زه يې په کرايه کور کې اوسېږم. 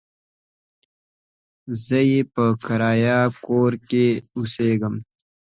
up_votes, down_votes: 2, 0